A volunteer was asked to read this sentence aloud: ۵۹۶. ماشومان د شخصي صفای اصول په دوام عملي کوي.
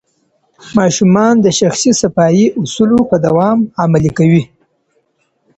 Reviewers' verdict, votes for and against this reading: rejected, 0, 2